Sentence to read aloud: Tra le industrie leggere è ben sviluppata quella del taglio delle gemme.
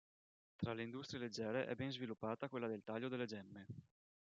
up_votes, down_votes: 2, 0